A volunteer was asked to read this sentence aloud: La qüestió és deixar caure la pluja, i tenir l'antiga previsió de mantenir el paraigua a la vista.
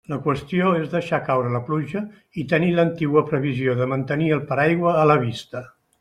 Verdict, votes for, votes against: rejected, 0, 2